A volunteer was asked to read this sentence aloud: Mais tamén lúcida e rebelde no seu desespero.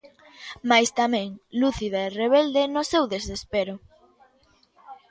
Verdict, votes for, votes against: accepted, 2, 0